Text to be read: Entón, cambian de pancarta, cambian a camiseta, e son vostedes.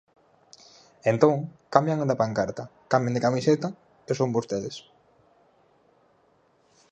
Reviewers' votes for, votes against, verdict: 2, 4, rejected